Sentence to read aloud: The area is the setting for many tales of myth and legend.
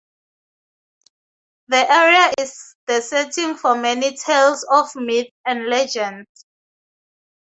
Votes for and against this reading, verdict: 2, 2, rejected